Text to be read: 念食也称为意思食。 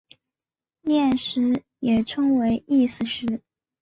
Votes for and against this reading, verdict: 3, 0, accepted